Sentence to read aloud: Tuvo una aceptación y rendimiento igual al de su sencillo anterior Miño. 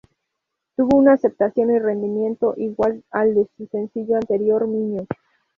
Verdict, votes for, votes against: accepted, 2, 0